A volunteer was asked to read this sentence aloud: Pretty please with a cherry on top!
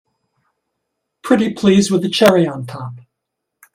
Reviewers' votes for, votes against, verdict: 2, 1, accepted